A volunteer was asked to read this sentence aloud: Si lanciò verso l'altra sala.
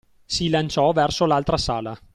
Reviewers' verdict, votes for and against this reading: accepted, 2, 0